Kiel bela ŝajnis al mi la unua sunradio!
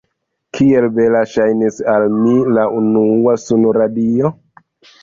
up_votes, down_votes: 1, 2